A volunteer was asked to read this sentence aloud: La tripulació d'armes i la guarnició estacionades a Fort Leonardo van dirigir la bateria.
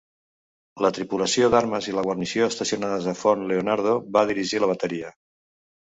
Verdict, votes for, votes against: rejected, 1, 2